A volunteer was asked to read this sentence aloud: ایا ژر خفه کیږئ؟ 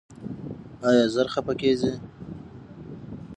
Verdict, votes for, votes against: accepted, 6, 0